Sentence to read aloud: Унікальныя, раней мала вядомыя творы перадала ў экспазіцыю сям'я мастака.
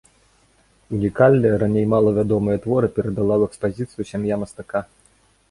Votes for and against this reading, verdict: 2, 0, accepted